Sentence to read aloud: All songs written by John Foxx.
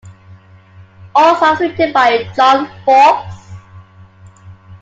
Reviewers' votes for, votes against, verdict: 2, 1, accepted